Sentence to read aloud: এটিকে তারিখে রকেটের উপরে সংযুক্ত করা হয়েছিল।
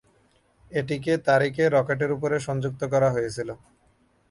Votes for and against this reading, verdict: 5, 0, accepted